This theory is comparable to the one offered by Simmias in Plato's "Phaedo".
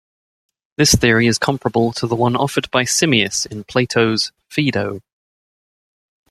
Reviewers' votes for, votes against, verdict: 0, 2, rejected